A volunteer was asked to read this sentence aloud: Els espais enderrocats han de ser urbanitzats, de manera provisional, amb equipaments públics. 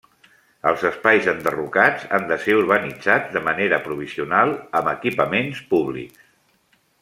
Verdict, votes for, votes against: rejected, 0, 2